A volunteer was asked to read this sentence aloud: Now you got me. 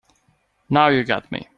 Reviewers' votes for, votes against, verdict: 2, 0, accepted